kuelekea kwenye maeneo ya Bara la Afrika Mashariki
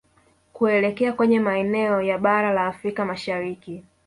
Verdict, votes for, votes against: rejected, 1, 2